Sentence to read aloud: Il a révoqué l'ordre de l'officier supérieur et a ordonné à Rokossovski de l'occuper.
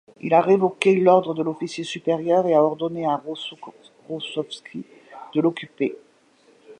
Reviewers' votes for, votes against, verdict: 0, 2, rejected